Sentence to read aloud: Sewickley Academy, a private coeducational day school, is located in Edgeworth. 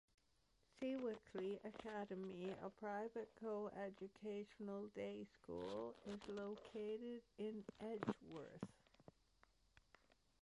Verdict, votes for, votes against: accepted, 2, 1